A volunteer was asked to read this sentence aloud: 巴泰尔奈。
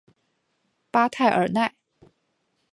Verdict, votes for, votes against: accepted, 4, 0